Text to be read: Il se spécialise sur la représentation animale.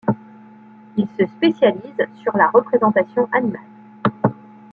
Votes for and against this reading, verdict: 2, 0, accepted